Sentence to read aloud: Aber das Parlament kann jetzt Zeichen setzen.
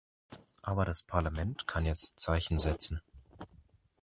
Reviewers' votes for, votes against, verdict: 2, 0, accepted